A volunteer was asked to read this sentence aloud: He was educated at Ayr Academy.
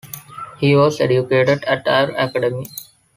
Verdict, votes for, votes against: accepted, 3, 1